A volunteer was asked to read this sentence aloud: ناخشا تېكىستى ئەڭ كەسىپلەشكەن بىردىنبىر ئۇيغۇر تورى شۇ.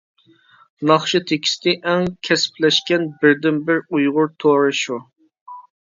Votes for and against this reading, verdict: 2, 0, accepted